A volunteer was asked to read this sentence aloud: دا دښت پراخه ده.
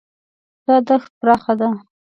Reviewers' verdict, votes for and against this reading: accepted, 2, 0